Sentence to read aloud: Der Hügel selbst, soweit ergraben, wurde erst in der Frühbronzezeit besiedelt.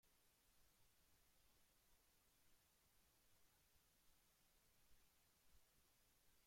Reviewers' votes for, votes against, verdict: 0, 2, rejected